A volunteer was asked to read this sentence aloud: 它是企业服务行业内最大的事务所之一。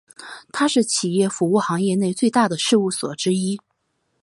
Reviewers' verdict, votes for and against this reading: accepted, 4, 2